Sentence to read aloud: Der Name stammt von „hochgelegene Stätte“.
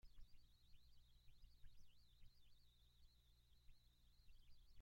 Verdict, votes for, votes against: rejected, 1, 2